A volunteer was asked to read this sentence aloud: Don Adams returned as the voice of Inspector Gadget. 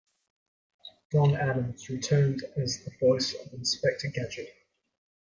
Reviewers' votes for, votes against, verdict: 2, 1, accepted